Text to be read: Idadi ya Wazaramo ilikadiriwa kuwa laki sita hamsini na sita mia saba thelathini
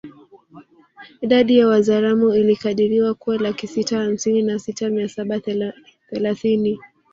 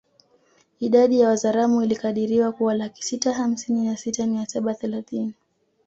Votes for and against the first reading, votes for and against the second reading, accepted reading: 1, 2, 2, 0, second